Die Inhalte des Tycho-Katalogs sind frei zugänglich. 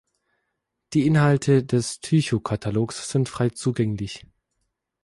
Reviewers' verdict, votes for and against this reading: accepted, 4, 0